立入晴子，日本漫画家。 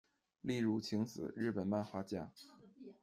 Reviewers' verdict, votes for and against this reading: accepted, 2, 0